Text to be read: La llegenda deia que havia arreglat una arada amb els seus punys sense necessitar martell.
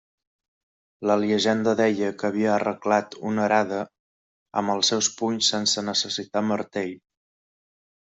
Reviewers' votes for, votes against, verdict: 0, 2, rejected